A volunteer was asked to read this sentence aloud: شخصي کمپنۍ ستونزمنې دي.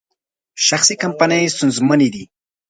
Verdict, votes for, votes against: accepted, 2, 0